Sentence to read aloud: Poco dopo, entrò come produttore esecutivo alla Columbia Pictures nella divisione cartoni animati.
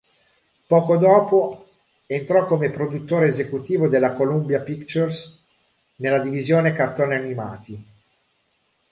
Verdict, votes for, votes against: accepted, 2, 0